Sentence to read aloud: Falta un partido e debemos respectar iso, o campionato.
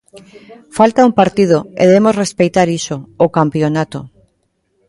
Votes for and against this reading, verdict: 0, 2, rejected